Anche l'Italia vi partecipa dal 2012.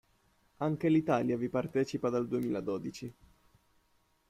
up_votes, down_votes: 0, 2